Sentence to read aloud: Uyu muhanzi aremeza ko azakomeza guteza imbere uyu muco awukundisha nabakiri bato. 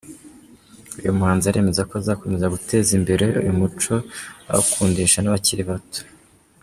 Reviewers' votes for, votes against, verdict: 2, 0, accepted